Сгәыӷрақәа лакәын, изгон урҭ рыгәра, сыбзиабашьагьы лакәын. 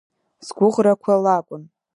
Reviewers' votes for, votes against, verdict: 0, 2, rejected